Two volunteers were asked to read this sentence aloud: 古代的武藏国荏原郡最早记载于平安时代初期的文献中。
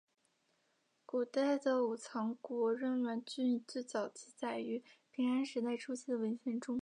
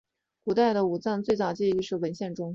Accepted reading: first